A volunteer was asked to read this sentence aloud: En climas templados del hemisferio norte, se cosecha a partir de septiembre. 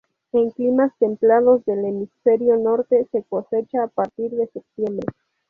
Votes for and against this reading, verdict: 0, 2, rejected